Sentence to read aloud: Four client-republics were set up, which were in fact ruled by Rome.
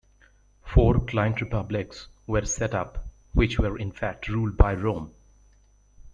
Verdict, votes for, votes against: accepted, 2, 1